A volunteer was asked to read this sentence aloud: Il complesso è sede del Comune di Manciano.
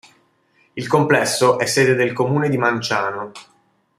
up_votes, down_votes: 2, 0